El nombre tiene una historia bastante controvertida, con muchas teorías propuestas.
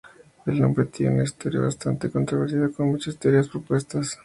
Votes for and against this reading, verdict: 0, 2, rejected